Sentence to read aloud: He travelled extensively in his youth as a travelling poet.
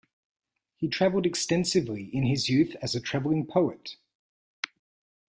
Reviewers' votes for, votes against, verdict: 1, 2, rejected